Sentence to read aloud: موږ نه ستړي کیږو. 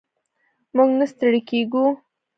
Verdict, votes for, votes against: rejected, 0, 2